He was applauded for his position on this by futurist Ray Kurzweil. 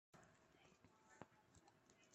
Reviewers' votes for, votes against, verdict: 0, 2, rejected